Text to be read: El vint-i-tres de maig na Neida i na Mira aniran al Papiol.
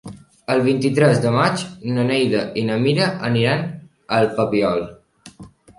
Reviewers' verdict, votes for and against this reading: accepted, 3, 0